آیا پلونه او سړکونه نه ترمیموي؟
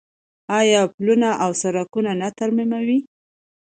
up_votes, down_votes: 2, 0